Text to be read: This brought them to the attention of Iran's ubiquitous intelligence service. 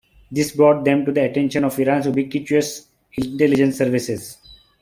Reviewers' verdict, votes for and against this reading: rejected, 1, 2